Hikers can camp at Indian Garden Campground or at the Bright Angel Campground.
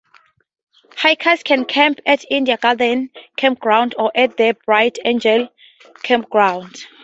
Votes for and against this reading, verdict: 0, 2, rejected